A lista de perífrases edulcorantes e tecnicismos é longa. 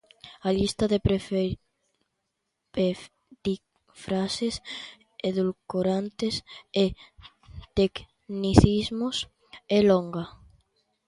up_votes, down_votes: 0, 2